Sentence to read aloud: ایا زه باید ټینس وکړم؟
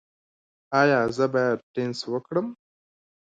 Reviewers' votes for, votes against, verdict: 0, 2, rejected